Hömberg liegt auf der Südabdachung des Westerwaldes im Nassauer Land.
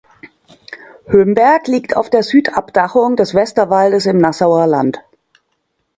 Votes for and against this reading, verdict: 2, 0, accepted